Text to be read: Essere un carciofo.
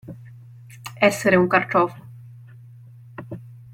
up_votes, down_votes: 2, 0